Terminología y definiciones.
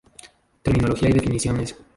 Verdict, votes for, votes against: rejected, 0, 2